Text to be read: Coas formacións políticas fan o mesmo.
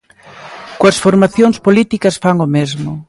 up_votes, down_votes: 2, 0